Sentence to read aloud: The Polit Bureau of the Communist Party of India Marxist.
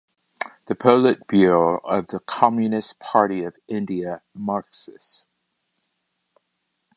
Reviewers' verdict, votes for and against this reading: accepted, 2, 0